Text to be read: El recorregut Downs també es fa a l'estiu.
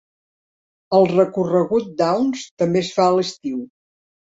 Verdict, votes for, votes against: accepted, 4, 0